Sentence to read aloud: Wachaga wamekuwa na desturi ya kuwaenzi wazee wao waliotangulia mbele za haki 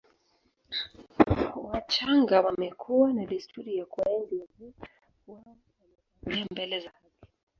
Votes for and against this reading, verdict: 0, 2, rejected